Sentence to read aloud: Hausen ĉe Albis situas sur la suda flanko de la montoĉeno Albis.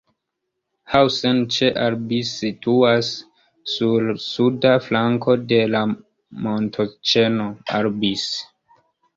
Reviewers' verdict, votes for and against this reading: accepted, 2, 0